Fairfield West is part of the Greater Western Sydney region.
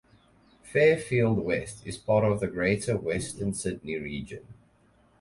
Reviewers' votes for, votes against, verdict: 6, 0, accepted